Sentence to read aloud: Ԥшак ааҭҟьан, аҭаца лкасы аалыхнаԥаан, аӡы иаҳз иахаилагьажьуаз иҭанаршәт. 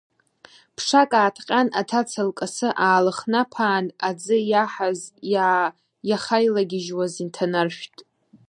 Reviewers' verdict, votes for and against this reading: rejected, 0, 2